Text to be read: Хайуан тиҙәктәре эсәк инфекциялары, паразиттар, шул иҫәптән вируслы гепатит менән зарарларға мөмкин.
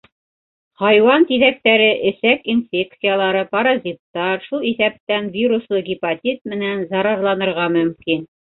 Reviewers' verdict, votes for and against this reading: rejected, 1, 2